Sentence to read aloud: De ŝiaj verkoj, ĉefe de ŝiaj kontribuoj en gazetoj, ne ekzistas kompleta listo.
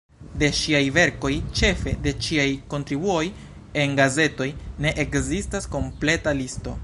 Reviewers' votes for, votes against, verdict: 0, 2, rejected